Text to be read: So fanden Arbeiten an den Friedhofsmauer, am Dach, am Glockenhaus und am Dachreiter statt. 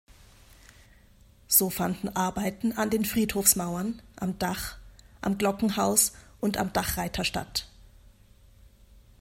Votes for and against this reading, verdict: 0, 2, rejected